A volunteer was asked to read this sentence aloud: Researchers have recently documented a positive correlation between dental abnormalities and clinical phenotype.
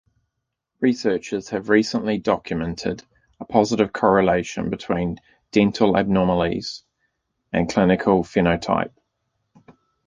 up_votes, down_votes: 0, 2